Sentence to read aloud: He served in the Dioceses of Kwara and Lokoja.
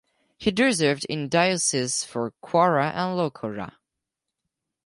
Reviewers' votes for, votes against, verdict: 2, 4, rejected